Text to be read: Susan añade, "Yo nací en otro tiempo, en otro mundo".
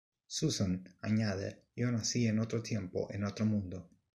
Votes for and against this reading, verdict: 0, 2, rejected